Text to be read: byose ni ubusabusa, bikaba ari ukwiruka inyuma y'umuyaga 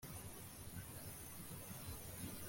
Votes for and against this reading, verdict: 0, 2, rejected